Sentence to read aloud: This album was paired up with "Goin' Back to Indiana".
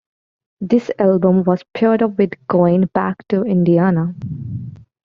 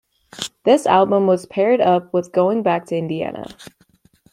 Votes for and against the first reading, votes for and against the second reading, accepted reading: 0, 2, 2, 0, second